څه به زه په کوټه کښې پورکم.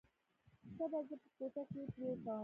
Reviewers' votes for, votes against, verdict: 1, 2, rejected